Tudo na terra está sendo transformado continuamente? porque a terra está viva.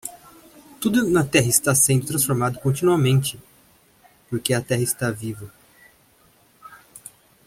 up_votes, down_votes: 1, 2